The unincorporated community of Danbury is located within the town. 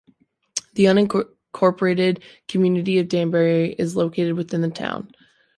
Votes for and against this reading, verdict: 1, 2, rejected